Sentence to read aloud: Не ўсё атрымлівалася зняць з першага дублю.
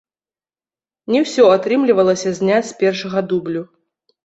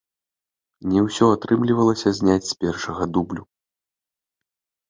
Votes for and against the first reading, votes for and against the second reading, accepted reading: 1, 2, 2, 0, second